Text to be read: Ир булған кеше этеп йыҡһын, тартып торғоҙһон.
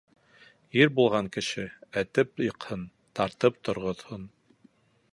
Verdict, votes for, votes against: accepted, 2, 0